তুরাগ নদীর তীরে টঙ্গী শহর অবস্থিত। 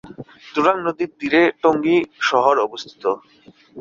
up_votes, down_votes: 2, 0